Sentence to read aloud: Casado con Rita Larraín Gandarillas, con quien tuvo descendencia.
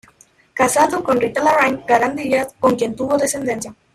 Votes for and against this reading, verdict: 0, 2, rejected